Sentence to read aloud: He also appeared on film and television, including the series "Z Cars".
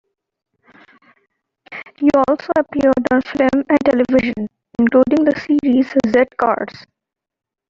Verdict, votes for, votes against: accepted, 2, 1